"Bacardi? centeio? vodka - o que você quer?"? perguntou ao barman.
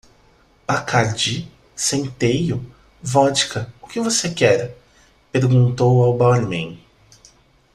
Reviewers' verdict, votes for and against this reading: accepted, 2, 0